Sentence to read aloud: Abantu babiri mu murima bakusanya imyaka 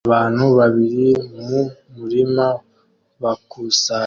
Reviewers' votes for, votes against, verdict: 0, 2, rejected